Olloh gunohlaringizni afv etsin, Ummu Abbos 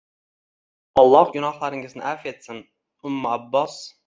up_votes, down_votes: 2, 0